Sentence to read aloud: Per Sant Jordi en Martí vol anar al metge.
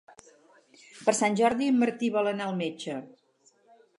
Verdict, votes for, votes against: rejected, 2, 2